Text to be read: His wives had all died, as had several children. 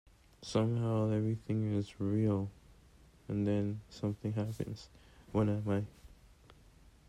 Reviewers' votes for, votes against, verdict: 0, 2, rejected